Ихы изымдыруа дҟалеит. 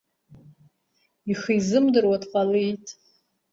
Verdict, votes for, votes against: accepted, 2, 0